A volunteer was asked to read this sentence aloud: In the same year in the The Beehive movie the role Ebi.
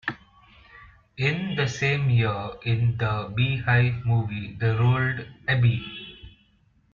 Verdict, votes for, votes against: rejected, 0, 2